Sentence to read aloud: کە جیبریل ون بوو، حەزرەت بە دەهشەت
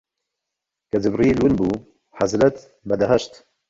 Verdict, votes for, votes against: accepted, 3, 2